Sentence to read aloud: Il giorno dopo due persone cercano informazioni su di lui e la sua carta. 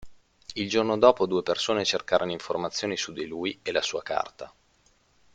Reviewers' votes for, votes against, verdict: 1, 2, rejected